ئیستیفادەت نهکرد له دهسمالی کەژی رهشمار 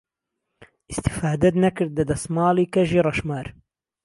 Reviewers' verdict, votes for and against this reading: rejected, 1, 2